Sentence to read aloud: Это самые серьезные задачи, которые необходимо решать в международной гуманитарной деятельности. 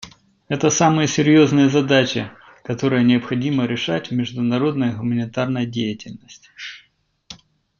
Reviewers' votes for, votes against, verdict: 2, 0, accepted